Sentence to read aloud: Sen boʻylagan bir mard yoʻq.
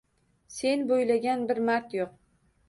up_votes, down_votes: 2, 0